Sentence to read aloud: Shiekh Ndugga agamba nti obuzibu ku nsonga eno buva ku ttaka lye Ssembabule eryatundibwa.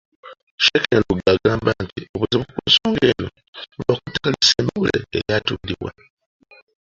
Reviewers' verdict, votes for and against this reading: rejected, 0, 2